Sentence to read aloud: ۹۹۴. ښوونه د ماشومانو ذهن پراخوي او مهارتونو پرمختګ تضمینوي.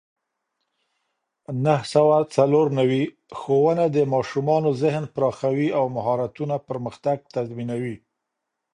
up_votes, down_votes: 0, 2